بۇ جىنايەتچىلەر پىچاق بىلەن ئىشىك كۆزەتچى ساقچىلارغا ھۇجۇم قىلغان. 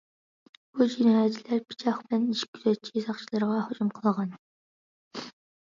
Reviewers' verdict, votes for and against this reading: rejected, 1, 2